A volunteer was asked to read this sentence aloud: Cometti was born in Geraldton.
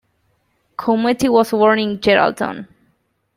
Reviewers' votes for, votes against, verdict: 2, 0, accepted